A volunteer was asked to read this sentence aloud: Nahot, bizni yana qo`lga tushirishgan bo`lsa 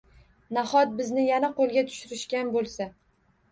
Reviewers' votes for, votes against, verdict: 1, 2, rejected